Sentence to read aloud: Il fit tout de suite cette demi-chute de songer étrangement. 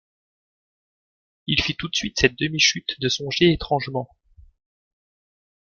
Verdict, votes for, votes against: accepted, 2, 0